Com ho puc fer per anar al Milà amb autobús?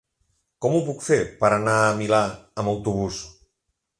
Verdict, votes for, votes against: rejected, 2, 3